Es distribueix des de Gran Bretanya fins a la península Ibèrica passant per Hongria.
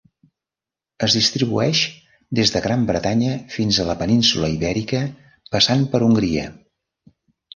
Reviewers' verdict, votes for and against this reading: accepted, 3, 0